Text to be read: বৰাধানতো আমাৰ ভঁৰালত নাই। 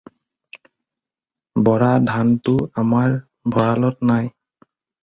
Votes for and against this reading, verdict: 4, 0, accepted